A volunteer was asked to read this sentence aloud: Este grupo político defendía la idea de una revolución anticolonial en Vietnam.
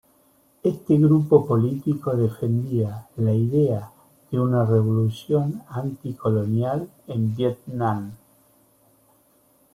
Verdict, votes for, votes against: accepted, 2, 0